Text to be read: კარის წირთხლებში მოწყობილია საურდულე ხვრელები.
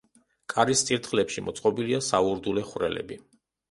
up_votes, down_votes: 2, 1